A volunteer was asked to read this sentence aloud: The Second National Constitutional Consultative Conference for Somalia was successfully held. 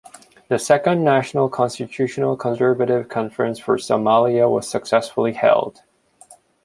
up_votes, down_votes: 0, 2